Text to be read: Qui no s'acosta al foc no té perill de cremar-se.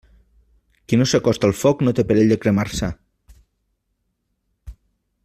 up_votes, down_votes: 2, 0